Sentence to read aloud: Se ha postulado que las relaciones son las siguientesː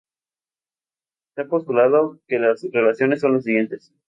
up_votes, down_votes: 2, 0